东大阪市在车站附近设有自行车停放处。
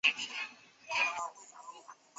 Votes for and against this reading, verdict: 0, 3, rejected